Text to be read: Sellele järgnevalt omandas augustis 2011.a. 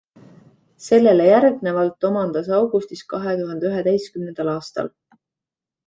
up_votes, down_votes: 0, 2